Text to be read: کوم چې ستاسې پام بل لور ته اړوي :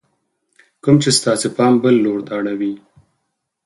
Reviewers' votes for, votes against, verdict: 4, 0, accepted